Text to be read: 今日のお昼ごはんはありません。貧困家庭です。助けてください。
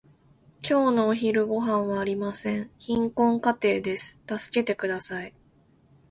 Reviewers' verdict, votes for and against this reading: accepted, 2, 0